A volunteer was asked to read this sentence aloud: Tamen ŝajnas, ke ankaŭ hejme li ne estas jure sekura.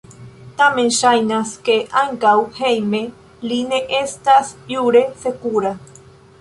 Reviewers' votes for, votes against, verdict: 2, 1, accepted